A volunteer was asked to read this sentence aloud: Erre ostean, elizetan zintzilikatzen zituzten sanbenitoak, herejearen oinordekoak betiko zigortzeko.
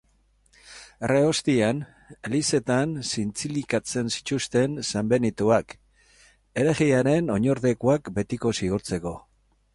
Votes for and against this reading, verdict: 4, 0, accepted